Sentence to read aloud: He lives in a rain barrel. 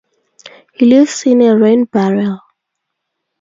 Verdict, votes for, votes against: rejected, 0, 2